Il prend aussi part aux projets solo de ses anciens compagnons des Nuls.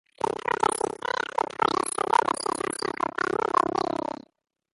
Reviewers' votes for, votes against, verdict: 0, 2, rejected